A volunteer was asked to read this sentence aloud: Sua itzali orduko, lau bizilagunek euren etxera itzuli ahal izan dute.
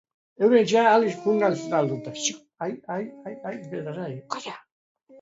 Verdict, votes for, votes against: rejected, 0, 2